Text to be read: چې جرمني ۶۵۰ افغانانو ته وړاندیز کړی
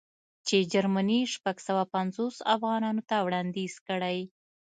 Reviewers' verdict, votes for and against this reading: rejected, 0, 2